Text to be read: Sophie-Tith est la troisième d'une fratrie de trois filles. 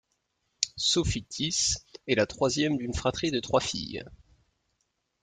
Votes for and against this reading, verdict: 2, 0, accepted